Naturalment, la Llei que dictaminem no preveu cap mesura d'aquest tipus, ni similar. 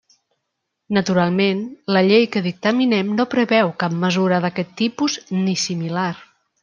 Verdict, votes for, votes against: accepted, 3, 0